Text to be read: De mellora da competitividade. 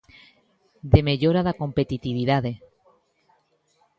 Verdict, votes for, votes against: accepted, 2, 0